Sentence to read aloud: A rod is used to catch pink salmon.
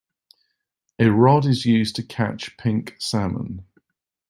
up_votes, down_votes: 2, 0